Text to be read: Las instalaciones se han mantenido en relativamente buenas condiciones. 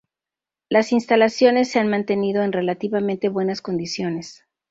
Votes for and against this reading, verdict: 2, 0, accepted